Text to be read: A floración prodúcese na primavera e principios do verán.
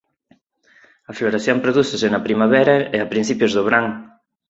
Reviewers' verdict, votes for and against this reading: rejected, 0, 4